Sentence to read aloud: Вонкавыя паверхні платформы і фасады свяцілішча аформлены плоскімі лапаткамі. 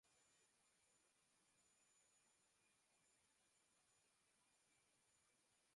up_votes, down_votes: 0, 2